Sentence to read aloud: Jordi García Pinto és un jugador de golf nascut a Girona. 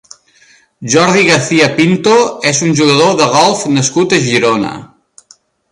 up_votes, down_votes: 3, 0